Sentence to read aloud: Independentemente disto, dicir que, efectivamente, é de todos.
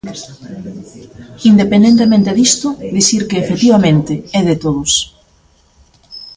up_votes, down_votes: 2, 1